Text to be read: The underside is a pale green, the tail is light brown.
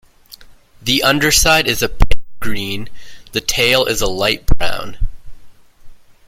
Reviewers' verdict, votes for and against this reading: rejected, 1, 2